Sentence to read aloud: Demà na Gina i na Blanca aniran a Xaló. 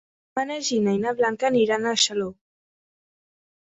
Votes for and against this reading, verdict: 0, 2, rejected